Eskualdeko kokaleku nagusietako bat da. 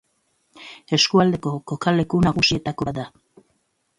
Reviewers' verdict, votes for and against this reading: rejected, 1, 2